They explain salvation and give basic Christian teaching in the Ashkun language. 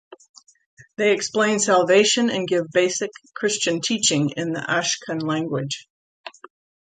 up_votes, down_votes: 2, 0